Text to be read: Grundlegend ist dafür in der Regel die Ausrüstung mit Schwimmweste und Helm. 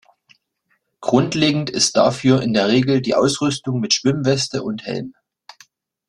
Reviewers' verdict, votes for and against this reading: accepted, 2, 0